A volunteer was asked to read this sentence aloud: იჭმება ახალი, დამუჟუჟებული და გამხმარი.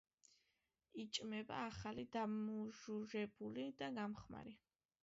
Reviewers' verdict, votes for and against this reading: accepted, 2, 1